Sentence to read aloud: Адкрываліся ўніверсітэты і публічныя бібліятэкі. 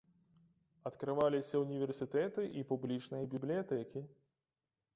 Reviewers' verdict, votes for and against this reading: rejected, 0, 2